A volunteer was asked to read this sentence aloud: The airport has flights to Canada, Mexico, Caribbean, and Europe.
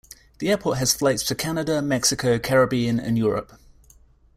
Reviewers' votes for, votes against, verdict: 2, 0, accepted